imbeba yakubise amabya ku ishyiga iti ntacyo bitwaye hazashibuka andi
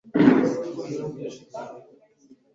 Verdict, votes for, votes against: rejected, 1, 2